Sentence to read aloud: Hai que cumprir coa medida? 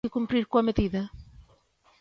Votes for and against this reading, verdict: 0, 2, rejected